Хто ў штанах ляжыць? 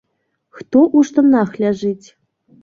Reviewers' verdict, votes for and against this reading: rejected, 1, 2